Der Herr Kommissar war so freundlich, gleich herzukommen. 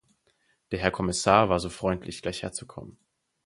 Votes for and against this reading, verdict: 4, 0, accepted